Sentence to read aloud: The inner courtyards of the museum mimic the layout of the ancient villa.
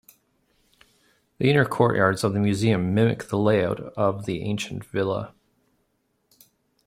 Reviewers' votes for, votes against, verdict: 2, 0, accepted